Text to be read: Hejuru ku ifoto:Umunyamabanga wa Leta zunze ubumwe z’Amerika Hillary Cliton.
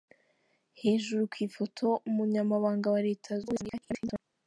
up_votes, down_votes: 0, 3